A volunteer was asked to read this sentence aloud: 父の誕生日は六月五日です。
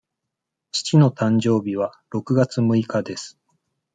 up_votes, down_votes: 2, 1